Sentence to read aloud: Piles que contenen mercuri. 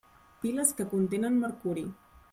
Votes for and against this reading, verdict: 1, 2, rejected